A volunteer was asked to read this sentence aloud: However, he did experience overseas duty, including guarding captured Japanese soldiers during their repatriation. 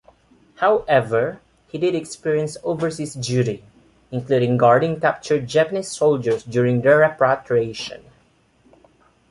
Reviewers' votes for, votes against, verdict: 1, 2, rejected